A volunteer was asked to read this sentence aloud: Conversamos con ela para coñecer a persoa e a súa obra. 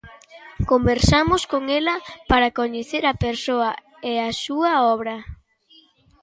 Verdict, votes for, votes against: accepted, 2, 0